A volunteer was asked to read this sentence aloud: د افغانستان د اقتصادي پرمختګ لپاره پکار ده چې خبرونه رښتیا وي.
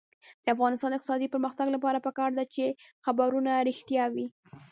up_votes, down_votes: 1, 2